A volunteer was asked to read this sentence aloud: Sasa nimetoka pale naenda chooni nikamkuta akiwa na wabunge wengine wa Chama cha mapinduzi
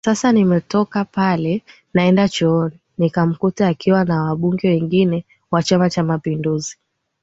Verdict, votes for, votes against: accepted, 2, 0